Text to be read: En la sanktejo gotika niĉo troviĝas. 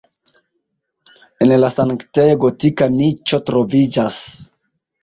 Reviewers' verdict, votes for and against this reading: rejected, 1, 2